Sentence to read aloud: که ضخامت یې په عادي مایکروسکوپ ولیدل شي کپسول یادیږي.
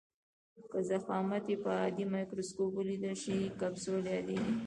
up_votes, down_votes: 1, 2